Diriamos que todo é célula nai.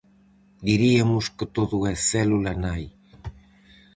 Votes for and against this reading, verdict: 0, 4, rejected